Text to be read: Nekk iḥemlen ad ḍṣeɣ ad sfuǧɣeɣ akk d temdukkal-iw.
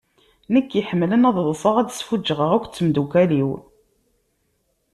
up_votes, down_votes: 2, 0